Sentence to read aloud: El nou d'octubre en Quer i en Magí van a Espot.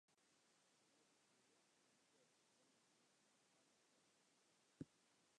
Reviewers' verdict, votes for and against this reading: rejected, 0, 2